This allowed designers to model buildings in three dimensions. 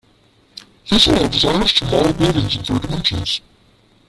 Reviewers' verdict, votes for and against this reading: rejected, 0, 2